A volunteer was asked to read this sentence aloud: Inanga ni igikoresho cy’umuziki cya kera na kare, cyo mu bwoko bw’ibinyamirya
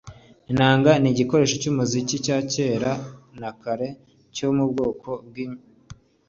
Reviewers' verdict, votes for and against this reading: rejected, 1, 2